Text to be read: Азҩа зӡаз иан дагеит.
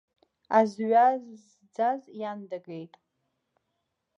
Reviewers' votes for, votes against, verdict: 1, 2, rejected